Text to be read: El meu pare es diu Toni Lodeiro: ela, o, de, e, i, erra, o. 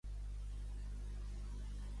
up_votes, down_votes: 1, 2